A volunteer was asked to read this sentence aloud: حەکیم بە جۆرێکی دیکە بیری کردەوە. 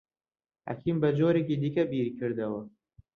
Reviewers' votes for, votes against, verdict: 2, 0, accepted